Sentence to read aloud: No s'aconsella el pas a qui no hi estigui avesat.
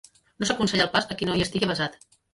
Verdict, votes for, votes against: rejected, 0, 2